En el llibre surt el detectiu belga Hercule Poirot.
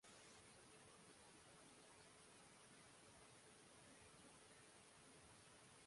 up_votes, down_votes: 0, 2